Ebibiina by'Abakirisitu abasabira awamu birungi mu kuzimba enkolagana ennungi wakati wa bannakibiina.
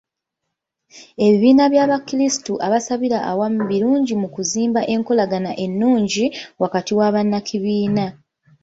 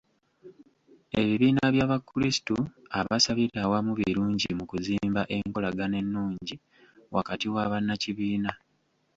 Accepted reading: first